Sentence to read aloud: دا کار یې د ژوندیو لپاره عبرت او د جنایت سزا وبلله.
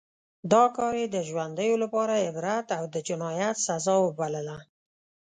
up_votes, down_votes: 2, 0